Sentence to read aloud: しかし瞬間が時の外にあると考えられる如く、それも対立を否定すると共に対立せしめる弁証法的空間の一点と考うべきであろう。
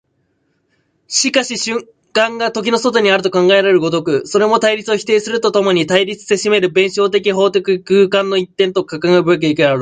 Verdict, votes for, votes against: rejected, 1, 2